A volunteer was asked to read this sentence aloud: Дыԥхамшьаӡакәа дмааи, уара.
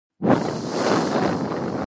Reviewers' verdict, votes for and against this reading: rejected, 1, 2